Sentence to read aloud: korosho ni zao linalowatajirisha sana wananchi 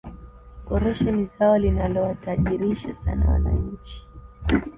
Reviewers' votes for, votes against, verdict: 2, 0, accepted